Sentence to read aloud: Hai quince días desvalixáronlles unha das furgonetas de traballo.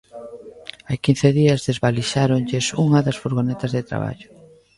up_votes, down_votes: 0, 2